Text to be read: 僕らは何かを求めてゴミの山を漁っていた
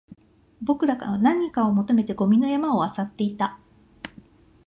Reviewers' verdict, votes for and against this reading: rejected, 0, 2